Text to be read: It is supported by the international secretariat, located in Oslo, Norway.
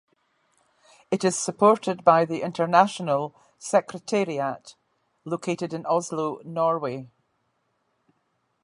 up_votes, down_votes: 2, 1